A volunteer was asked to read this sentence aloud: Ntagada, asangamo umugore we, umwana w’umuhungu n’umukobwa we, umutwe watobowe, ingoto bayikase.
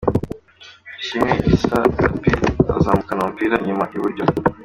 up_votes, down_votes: 0, 3